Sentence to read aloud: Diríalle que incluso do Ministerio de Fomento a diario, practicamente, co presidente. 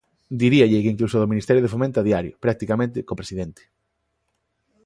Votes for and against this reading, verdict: 2, 0, accepted